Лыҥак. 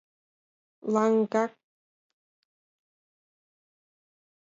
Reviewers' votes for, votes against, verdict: 2, 1, accepted